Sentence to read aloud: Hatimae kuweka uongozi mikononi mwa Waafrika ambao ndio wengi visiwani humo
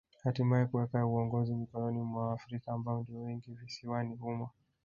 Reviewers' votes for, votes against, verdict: 1, 3, rejected